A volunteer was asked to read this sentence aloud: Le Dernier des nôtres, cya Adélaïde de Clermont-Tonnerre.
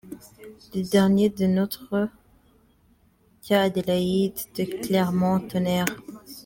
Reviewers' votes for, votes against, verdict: 2, 1, accepted